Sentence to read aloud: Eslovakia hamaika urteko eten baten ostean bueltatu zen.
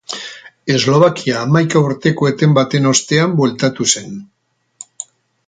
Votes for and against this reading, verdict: 4, 0, accepted